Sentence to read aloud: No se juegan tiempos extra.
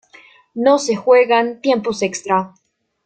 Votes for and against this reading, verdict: 2, 0, accepted